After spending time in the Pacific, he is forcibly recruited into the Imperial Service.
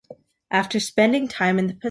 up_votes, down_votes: 0, 2